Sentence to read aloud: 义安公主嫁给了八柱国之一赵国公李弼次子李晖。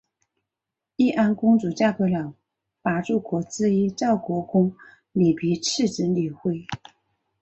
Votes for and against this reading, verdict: 2, 0, accepted